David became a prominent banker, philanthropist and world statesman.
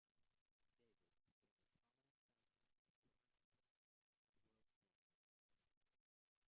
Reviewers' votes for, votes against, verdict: 0, 2, rejected